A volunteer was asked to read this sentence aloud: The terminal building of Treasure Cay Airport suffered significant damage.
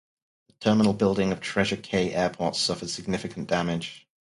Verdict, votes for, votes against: rejected, 0, 2